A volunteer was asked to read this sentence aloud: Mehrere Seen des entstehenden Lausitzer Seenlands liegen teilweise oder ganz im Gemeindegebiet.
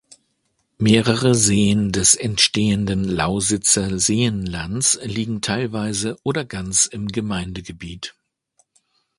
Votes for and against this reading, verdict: 2, 0, accepted